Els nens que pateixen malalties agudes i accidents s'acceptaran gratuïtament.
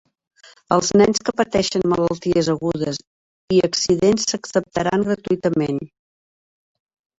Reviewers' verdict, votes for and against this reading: rejected, 0, 2